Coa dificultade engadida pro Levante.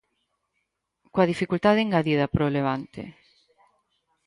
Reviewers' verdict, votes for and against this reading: accepted, 4, 0